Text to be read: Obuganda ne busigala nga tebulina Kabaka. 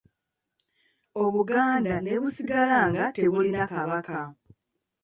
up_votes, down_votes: 2, 0